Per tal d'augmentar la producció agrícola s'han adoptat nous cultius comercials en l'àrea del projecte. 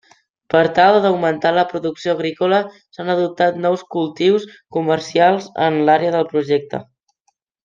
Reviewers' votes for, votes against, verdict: 3, 0, accepted